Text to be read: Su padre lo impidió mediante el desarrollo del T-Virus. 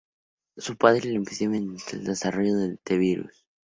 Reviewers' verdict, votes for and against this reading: rejected, 0, 2